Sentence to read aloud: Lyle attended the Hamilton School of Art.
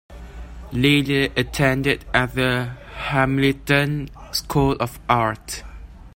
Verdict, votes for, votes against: rejected, 0, 2